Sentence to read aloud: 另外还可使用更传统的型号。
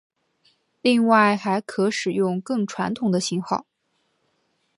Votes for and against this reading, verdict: 2, 0, accepted